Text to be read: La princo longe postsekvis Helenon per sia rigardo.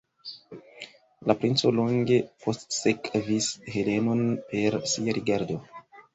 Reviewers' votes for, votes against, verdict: 2, 0, accepted